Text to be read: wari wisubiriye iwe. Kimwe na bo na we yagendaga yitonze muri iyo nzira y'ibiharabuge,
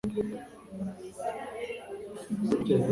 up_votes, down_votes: 0, 2